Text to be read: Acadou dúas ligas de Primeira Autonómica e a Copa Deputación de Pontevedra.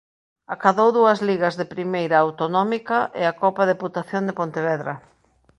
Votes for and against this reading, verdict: 2, 0, accepted